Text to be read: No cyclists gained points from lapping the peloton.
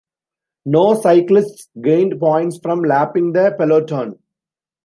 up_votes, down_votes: 2, 0